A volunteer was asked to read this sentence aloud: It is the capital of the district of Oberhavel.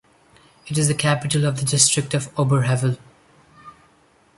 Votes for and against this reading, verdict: 0, 2, rejected